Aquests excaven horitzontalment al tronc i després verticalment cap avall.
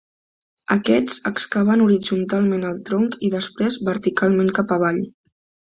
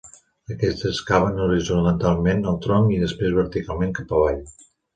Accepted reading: first